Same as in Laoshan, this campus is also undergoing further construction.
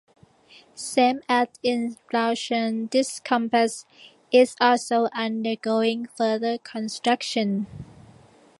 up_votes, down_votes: 2, 1